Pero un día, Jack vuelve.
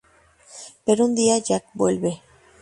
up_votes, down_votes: 2, 2